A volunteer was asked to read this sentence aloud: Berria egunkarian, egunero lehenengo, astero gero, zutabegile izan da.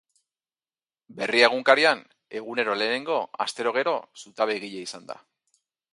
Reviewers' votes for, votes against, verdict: 4, 0, accepted